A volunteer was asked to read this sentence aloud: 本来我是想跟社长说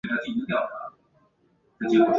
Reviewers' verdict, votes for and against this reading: rejected, 0, 3